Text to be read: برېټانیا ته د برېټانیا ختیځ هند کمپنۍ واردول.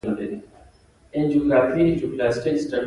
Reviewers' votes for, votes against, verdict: 1, 2, rejected